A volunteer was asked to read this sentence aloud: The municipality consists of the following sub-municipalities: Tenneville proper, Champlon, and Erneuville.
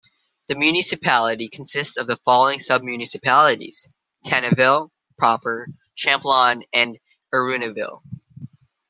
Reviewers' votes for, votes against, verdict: 2, 1, accepted